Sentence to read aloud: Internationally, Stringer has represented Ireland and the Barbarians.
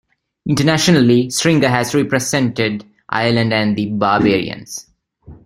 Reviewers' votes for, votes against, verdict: 2, 1, accepted